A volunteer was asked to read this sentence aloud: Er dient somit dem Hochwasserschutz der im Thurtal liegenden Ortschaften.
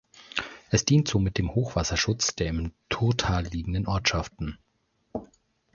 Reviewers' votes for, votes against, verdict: 0, 3, rejected